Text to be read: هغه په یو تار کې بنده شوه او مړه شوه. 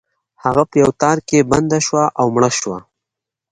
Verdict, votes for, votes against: accepted, 2, 0